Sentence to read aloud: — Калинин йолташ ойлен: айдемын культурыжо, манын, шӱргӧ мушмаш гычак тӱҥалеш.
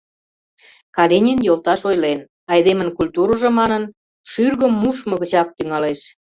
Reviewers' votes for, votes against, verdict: 0, 2, rejected